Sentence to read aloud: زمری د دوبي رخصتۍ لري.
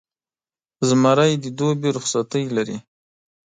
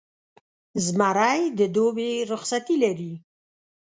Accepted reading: first